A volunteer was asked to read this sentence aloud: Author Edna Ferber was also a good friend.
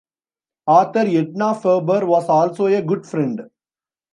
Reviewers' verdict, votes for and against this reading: rejected, 0, 2